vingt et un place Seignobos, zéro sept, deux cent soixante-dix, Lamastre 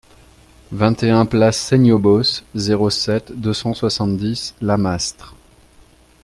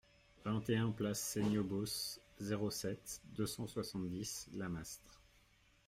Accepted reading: first